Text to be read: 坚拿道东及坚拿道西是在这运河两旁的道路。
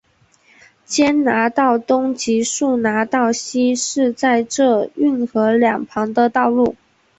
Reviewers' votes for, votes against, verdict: 7, 1, accepted